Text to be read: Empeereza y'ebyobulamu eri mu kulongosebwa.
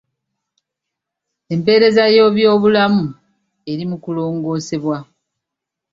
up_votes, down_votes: 2, 0